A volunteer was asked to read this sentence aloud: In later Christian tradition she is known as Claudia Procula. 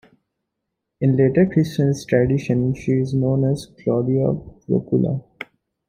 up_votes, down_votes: 1, 2